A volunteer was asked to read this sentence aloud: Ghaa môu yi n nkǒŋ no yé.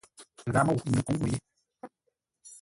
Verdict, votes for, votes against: rejected, 0, 2